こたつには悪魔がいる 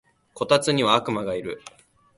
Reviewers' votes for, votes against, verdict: 3, 0, accepted